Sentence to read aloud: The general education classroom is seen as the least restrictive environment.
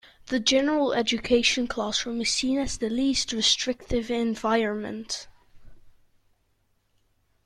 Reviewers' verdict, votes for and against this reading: accepted, 2, 0